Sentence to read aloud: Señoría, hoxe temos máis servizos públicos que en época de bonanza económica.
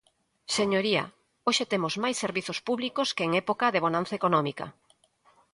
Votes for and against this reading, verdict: 3, 0, accepted